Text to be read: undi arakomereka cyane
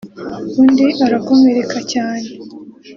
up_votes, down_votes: 3, 0